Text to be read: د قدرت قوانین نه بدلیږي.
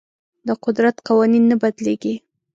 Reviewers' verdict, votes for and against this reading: accepted, 2, 0